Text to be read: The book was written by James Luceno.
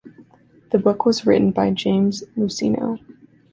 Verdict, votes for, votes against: accepted, 2, 0